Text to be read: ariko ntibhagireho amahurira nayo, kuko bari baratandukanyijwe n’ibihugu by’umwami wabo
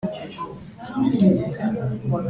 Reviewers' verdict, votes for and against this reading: rejected, 1, 2